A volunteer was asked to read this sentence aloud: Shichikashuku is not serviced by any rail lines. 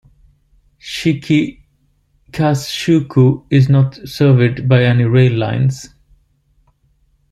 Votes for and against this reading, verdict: 0, 2, rejected